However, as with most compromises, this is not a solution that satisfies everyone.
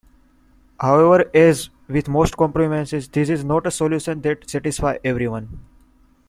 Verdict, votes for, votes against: accepted, 2, 1